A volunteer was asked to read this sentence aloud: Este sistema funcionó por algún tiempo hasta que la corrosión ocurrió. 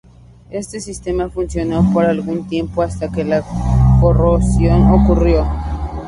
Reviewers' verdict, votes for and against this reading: accepted, 2, 0